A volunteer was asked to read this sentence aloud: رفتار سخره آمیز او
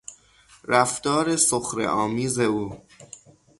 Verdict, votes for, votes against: accepted, 6, 0